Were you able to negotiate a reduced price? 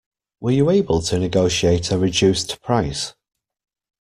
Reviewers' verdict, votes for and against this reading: accepted, 2, 0